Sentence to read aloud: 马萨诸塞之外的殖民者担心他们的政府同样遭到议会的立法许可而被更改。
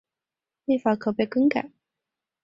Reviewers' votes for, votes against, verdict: 2, 4, rejected